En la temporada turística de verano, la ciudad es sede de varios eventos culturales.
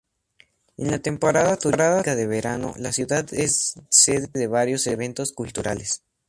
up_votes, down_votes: 0, 2